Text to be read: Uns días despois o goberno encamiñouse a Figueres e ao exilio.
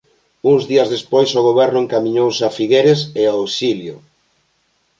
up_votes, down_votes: 2, 0